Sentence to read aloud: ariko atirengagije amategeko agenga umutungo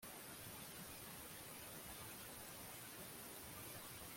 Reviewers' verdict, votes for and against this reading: rejected, 1, 2